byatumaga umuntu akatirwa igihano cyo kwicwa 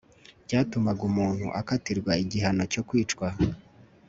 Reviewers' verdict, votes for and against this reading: accepted, 2, 0